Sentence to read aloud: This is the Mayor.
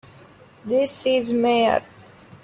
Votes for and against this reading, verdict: 0, 2, rejected